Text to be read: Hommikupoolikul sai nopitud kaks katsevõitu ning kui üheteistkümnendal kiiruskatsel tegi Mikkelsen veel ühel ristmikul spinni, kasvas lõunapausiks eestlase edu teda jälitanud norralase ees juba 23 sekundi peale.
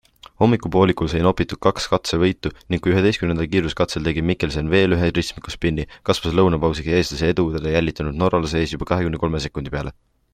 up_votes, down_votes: 0, 2